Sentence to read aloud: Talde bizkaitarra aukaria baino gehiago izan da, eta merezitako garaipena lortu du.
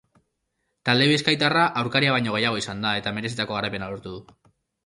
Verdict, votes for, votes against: accepted, 3, 0